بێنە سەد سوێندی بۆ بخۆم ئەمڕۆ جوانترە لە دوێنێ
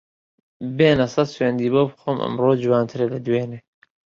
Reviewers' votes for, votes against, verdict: 3, 1, accepted